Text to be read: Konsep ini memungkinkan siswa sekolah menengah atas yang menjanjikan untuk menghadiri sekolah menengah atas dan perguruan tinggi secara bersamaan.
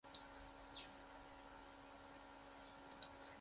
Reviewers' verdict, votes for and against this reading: rejected, 0, 2